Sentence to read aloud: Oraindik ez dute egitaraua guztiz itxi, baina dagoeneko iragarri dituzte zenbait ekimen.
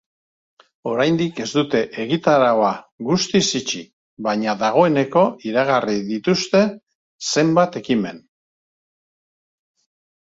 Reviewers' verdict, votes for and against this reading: accepted, 2, 0